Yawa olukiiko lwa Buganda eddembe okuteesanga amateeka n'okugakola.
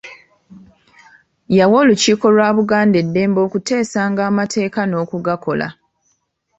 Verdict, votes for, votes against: accepted, 2, 0